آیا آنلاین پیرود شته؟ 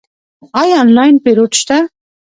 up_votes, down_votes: 0, 2